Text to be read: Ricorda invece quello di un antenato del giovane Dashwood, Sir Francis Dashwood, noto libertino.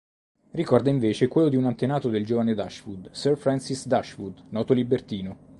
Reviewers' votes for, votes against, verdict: 2, 0, accepted